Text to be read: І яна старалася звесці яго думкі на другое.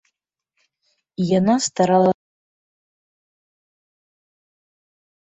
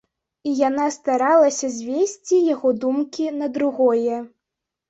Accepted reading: second